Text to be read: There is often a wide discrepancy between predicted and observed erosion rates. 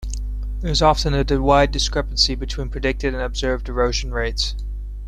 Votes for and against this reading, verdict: 1, 2, rejected